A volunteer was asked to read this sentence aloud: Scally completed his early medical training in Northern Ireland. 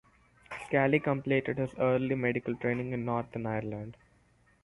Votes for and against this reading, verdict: 6, 0, accepted